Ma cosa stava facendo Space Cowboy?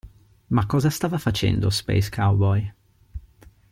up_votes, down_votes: 2, 0